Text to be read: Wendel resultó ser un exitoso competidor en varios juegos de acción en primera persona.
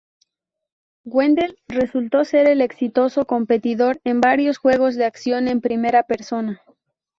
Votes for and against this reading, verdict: 0, 2, rejected